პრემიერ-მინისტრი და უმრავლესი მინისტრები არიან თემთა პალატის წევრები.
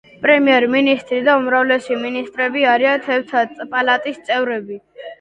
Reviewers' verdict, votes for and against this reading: rejected, 0, 2